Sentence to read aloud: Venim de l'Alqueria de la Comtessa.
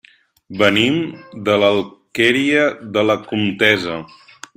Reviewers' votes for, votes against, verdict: 1, 2, rejected